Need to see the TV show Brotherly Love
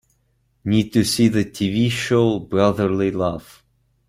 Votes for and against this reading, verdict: 2, 0, accepted